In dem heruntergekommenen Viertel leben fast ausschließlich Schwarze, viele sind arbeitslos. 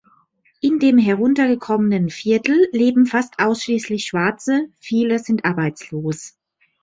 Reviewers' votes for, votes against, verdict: 2, 0, accepted